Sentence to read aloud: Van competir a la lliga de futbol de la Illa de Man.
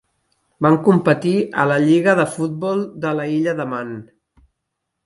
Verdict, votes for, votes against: rejected, 1, 2